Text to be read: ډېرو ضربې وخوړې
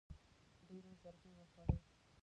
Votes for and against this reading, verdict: 1, 2, rejected